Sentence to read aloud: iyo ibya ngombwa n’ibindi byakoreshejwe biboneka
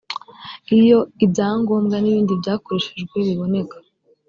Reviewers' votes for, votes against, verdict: 2, 0, accepted